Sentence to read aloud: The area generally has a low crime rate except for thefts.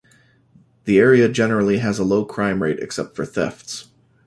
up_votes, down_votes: 2, 0